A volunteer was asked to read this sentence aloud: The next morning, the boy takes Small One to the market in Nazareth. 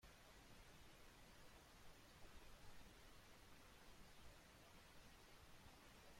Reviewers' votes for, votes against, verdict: 0, 2, rejected